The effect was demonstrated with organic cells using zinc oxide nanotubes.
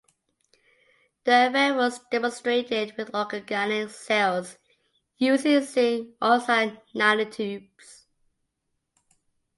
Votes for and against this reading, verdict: 2, 0, accepted